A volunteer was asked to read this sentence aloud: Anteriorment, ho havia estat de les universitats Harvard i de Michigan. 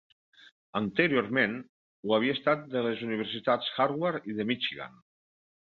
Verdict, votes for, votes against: rejected, 1, 2